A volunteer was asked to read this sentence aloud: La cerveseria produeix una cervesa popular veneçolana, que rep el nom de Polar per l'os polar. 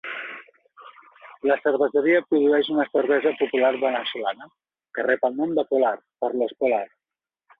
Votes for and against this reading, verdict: 2, 0, accepted